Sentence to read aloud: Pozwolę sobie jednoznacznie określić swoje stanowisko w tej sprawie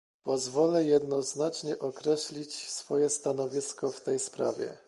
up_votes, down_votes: 0, 2